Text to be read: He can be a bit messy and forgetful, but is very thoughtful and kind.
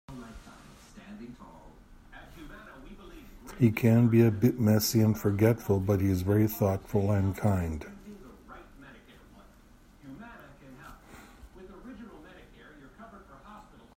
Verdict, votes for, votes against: rejected, 1, 2